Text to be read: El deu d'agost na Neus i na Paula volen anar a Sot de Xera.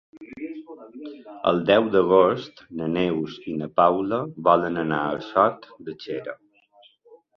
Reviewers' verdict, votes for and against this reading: accepted, 4, 2